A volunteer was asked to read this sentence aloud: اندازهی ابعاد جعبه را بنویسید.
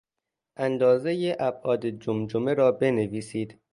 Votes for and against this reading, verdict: 0, 2, rejected